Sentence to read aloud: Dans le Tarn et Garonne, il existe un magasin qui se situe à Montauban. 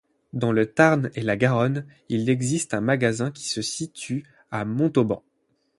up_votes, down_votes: 0, 8